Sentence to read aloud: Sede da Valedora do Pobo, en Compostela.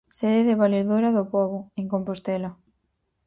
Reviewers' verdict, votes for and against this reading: rejected, 0, 4